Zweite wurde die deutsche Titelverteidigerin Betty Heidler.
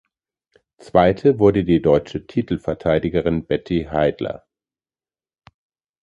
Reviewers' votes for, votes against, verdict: 2, 0, accepted